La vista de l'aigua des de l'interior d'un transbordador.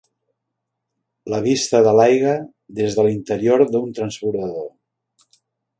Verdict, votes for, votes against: accepted, 2, 0